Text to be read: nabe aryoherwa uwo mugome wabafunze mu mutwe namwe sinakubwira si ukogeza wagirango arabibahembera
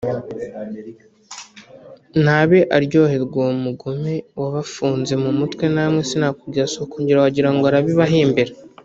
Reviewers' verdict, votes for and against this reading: rejected, 0, 2